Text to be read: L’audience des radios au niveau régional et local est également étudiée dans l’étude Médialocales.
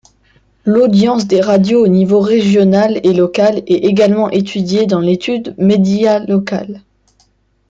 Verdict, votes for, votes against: accepted, 2, 0